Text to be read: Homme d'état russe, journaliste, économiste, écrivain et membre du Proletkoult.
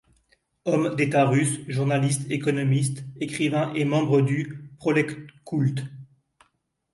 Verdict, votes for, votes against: rejected, 1, 2